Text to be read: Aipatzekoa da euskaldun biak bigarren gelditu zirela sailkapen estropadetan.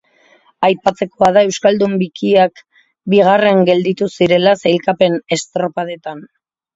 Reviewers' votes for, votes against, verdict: 0, 2, rejected